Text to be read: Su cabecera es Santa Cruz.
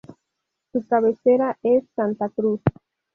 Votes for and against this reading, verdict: 2, 0, accepted